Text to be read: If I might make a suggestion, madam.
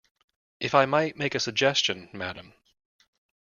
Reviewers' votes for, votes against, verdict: 2, 0, accepted